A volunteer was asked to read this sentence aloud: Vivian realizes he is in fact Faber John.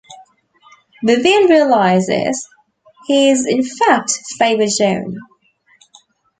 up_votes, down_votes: 2, 0